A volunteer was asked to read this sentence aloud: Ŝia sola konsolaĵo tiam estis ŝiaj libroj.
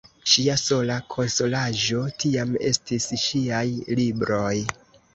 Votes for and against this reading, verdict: 1, 2, rejected